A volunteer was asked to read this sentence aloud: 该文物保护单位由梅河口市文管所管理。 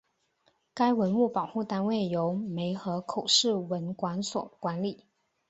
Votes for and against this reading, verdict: 2, 0, accepted